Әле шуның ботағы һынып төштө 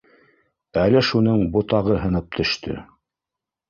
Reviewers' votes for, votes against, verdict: 0, 2, rejected